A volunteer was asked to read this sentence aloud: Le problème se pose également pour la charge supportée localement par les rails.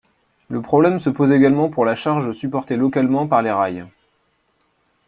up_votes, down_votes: 2, 0